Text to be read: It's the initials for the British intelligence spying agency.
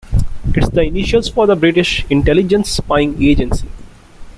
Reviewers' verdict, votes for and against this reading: accepted, 3, 0